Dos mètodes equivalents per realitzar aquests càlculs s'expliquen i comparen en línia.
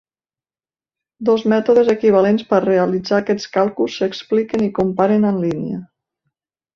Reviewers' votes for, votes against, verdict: 3, 0, accepted